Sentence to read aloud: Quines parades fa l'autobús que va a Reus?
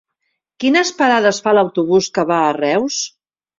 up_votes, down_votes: 3, 0